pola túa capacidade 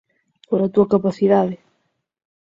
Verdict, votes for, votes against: accepted, 6, 0